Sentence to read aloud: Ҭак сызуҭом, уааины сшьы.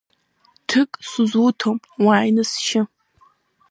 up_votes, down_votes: 0, 2